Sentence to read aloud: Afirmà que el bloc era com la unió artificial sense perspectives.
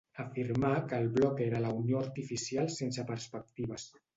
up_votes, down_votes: 1, 2